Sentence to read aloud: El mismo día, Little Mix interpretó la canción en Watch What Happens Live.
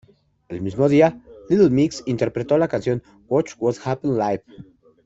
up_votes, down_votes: 1, 2